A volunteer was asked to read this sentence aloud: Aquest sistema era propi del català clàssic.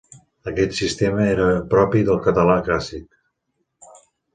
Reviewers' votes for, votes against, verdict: 2, 0, accepted